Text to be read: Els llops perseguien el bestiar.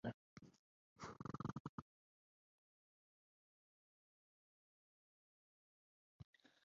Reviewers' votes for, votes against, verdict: 0, 2, rejected